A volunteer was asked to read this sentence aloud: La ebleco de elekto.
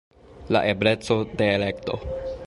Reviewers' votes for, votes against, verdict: 2, 0, accepted